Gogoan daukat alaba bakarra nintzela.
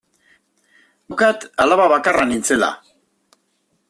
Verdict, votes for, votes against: rejected, 0, 2